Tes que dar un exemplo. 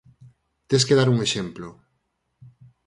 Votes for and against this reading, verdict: 4, 0, accepted